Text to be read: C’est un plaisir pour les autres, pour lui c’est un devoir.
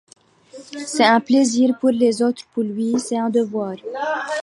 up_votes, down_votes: 0, 2